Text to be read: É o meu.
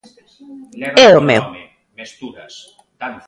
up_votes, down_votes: 0, 2